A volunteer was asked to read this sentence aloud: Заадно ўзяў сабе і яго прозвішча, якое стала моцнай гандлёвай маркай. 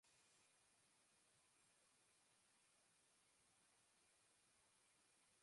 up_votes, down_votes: 0, 2